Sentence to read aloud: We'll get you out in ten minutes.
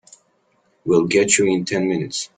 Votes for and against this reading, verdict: 1, 3, rejected